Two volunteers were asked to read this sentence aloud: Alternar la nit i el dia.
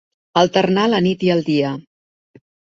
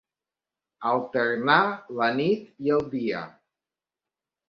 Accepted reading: first